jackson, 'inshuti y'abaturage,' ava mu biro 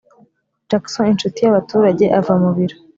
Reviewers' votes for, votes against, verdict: 3, 0, accepted